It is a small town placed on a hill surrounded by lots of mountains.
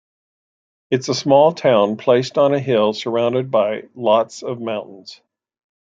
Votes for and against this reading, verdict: 2, 0, accepted